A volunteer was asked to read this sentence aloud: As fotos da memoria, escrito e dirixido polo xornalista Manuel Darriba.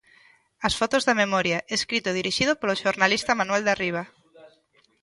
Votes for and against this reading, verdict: 1, 2, rejected